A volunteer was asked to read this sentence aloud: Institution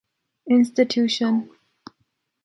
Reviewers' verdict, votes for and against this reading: accepted, 2, 0